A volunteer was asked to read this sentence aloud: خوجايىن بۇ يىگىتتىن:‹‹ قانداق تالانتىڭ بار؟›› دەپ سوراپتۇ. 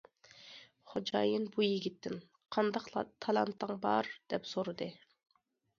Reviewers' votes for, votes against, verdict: 1, 2, rejected